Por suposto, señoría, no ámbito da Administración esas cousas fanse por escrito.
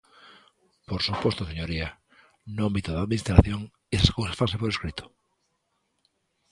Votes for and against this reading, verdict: 2, 0, accepted